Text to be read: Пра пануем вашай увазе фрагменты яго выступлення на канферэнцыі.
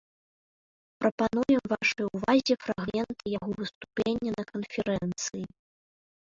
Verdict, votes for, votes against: rejected, 0, 2